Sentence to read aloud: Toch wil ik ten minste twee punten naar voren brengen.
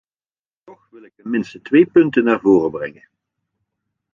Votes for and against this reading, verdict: 0, 2, rejected